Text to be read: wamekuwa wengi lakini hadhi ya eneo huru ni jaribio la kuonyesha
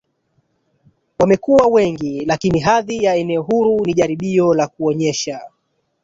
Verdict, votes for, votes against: accepted, 2, 1